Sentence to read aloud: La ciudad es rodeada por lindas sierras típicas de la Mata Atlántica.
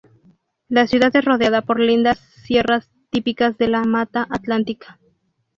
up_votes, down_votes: 0, 2